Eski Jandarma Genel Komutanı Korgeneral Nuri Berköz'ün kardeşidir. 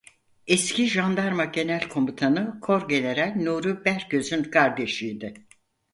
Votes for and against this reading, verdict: 2, 4, rejected